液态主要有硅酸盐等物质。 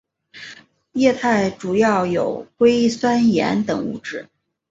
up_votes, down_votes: 3, 0